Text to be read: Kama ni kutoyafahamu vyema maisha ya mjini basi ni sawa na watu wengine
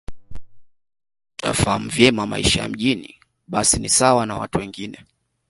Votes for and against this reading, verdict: 1, 2, rejected